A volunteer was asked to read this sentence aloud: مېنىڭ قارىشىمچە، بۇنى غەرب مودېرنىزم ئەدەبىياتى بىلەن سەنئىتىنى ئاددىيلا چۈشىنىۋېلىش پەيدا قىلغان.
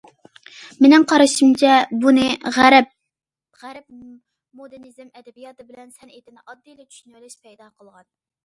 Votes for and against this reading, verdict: 0, 2, rejected